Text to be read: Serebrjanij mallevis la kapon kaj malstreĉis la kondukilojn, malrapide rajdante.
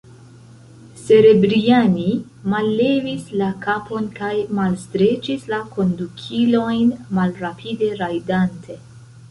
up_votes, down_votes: 0, 2